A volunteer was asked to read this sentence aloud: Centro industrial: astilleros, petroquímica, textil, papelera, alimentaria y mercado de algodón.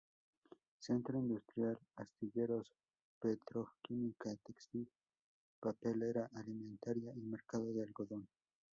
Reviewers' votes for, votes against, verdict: 0, 2, rejected